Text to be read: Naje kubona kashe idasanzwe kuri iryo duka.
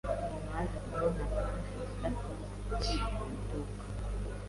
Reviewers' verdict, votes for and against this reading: rejected, 1, 2